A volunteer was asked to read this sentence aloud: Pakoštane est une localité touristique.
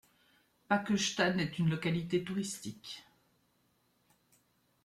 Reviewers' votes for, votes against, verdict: 3, 0, accepted